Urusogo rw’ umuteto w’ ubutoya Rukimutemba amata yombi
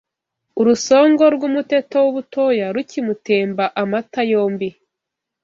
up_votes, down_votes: 0, 2